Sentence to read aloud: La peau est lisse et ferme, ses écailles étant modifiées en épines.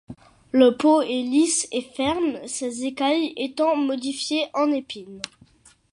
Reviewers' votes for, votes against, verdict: 2, 1, accepted